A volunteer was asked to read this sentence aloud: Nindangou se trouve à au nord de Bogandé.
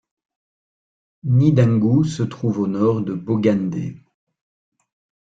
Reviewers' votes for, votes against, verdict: 1, 2, rejected